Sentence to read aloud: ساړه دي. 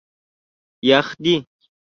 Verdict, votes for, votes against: rejected, 0, 2